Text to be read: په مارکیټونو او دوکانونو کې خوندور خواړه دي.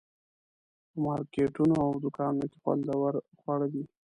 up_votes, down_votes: 1, 2